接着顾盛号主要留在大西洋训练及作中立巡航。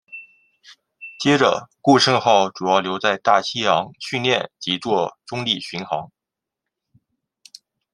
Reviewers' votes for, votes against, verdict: 2, 0, accepted